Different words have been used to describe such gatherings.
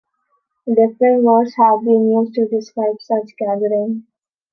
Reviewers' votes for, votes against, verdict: 1, 2, rejected